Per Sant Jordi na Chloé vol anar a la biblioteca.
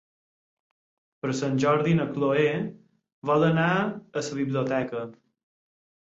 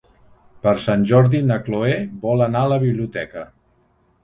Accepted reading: second